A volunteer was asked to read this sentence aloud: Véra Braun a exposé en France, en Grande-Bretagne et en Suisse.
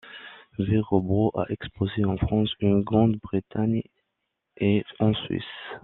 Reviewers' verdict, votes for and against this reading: accepted, 2, 1